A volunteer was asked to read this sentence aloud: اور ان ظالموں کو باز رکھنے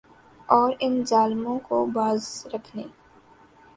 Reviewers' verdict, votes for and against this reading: accepted, 2, 0